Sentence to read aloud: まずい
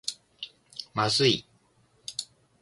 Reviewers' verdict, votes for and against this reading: accepted, 3, 1